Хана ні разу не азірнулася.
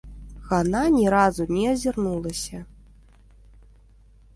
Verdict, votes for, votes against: rejected, 1, 2